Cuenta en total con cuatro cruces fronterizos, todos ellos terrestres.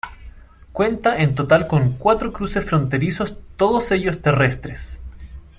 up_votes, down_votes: 2, 1